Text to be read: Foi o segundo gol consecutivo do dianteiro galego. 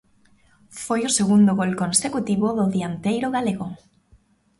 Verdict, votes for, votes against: accepted, 2, 0